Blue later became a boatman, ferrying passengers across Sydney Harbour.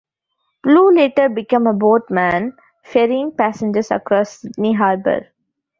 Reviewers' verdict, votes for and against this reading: rejected, 1, 2